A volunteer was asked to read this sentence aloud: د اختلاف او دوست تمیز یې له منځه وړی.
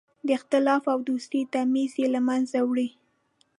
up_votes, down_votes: 2, 0